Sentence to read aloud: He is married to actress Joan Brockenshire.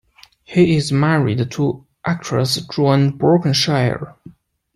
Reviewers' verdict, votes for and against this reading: accepted, 2, 0